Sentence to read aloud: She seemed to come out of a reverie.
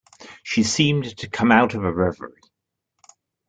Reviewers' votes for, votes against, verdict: 2, 0, accepted